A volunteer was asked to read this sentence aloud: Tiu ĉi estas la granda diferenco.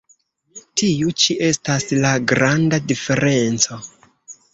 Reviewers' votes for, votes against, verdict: 3, 1, accepted